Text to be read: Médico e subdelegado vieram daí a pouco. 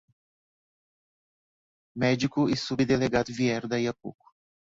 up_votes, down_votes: 2, 0